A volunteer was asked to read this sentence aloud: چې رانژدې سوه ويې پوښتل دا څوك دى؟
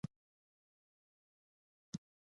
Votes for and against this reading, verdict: 0, 2, rejected